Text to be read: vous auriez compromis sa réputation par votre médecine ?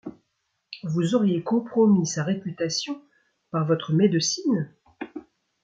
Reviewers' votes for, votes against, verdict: 2, 0, accepted